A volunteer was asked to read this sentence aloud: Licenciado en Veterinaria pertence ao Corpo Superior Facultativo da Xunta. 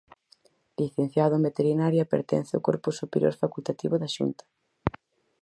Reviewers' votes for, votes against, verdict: 4, 0, accepted